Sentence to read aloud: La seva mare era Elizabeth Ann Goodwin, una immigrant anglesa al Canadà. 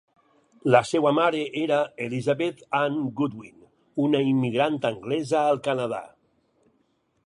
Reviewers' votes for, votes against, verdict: 2, 4, rejected